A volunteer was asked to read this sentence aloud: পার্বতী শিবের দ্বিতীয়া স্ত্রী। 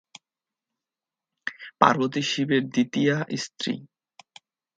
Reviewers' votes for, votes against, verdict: 10, 1, accepted